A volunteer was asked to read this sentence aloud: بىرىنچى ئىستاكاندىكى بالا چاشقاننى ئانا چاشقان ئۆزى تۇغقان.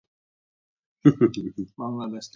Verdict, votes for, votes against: rejected, 0, 2